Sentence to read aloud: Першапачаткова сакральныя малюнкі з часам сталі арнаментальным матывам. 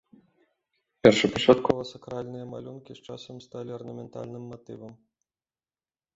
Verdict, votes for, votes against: accepted, 2, 0